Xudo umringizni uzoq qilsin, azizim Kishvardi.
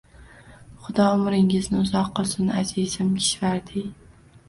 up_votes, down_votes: 1, 2